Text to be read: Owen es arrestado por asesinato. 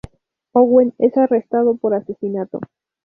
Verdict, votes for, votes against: accepted, 2, 0